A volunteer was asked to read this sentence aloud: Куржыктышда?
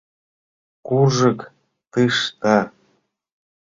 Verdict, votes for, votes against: rejected, 1, 2